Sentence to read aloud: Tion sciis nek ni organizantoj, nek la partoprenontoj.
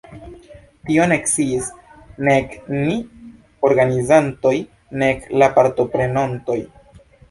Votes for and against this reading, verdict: 0, 2, rejected